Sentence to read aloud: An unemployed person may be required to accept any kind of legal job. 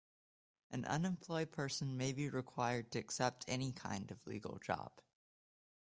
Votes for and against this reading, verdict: 2, 0, accepted